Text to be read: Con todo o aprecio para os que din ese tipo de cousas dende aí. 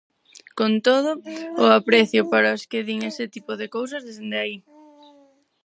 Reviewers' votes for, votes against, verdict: 0, 4, rejected